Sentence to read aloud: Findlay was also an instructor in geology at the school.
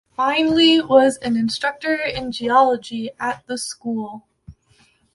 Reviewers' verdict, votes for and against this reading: rejected, 0, 2